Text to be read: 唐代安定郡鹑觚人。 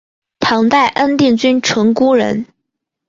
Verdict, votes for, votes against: accepted, 5, 0